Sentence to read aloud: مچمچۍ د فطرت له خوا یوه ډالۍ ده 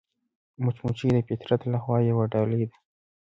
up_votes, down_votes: 2, 0